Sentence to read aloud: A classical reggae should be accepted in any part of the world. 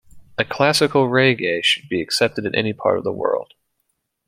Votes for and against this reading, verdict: 2, 0, accepted